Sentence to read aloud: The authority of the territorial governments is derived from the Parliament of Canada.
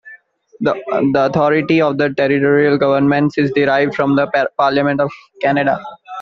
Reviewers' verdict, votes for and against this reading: rejected, 0, 2